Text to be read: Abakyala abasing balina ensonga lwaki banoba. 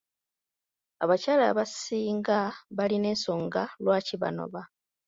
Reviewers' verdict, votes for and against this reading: rejected, 1, 2